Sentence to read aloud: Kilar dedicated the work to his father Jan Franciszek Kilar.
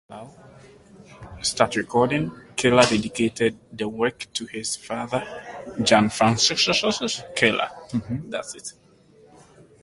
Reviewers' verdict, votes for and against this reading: rejected, 0, 2